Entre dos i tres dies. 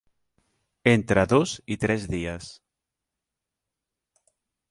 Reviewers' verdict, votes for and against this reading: accepted, 3, 0